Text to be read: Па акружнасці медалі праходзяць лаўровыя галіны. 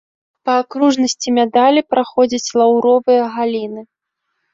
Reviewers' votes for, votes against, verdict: 2, 0, accepted